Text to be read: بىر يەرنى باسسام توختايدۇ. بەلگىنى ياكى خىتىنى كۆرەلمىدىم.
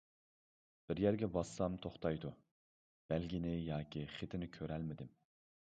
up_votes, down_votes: 0, 2